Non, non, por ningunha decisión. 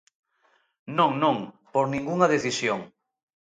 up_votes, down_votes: 2, 0